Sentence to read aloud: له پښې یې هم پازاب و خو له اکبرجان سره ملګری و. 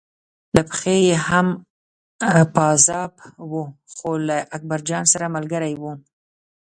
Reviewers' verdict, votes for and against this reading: rejected, 1, 2